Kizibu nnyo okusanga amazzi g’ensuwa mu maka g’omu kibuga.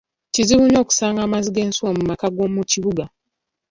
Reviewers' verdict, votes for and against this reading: accepted, 2, 0